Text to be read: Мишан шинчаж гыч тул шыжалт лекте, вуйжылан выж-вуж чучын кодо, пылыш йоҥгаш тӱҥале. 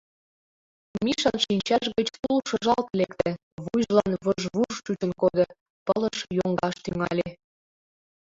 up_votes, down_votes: 1, 2